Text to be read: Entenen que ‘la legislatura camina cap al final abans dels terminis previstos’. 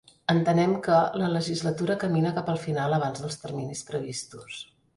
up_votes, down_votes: 1, 2